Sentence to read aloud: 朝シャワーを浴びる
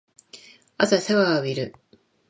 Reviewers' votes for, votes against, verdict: 2, 1, accepted